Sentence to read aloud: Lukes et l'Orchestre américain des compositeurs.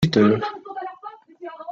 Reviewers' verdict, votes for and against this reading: rejected, 0, 2